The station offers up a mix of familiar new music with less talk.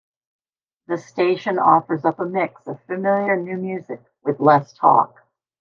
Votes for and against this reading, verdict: 2, 0, accepted